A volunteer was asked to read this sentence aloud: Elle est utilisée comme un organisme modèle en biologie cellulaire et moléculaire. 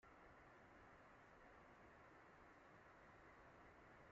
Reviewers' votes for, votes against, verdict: 0, 2, rejected